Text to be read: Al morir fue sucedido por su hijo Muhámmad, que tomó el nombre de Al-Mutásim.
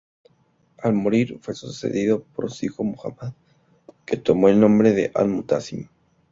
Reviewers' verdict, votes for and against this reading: accepted, 2, 0